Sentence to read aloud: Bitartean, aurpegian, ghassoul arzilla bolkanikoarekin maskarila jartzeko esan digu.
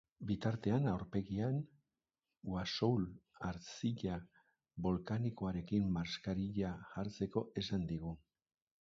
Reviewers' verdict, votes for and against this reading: accepted, 2, 0